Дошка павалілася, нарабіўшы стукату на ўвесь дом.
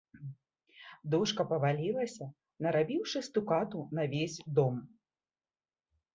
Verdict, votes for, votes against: rejected, 0, 2